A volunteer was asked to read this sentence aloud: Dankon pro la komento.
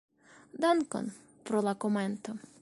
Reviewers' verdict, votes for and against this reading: accepted, 2, 0